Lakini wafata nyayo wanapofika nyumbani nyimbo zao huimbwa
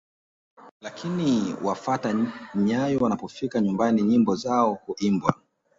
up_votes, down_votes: 2, 0